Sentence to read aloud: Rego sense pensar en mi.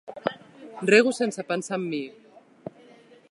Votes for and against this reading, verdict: 2, 0, accepted